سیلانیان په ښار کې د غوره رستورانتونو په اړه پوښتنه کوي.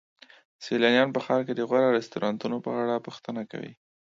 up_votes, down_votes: 2, 0